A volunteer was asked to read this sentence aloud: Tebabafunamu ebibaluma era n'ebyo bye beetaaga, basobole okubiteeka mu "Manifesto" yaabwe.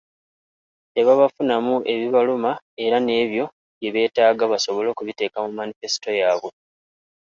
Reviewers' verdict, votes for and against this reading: accepted, 2, 0